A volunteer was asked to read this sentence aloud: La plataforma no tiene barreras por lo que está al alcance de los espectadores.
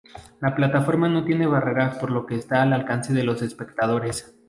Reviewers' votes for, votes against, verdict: 4, 0, accepted